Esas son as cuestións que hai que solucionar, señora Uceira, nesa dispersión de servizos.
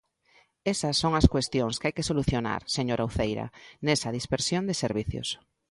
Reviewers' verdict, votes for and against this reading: accepted, 2, 1